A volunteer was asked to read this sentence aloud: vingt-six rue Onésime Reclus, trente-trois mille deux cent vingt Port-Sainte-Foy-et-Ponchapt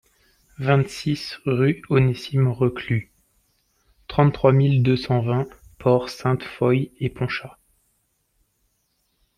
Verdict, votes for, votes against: accepted, 2, 0